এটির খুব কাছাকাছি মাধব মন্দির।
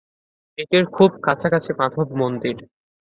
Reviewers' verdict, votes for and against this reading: accepted, 2, 0